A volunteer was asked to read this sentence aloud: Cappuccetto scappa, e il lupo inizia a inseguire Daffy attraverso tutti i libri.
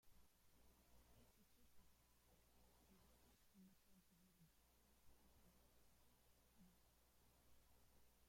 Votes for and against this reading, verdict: 0, 2, rejected